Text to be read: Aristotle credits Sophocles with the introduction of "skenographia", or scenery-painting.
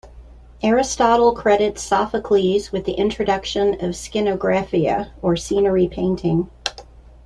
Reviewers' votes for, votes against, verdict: 2, 0, accepted